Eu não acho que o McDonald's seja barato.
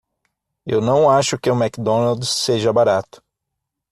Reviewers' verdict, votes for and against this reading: accepted, 6, 0